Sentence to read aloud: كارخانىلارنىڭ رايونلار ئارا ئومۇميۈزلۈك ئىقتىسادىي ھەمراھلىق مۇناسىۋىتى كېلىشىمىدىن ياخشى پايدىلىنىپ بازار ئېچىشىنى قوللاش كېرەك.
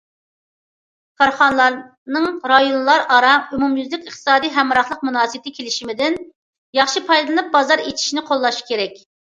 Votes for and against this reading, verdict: 2, 0, accepted